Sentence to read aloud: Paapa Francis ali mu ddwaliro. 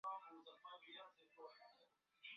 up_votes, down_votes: 0, 2